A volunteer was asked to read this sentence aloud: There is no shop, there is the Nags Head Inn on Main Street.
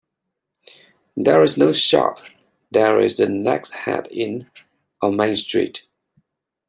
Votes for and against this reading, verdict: 2, 1, accepted